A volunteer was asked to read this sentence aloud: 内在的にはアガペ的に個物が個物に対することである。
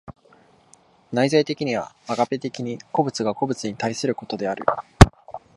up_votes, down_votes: 2, 0